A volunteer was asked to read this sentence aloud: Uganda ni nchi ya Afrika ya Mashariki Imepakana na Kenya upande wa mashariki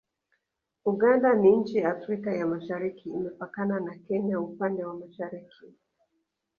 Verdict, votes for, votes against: accepted, 2, 0